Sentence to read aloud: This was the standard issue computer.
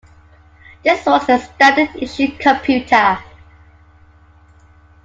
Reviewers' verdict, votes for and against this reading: accepted, 2, 0